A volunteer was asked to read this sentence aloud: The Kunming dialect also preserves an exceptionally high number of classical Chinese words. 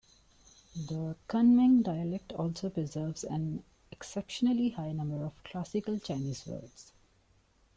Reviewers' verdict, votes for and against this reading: accepted, 3, 0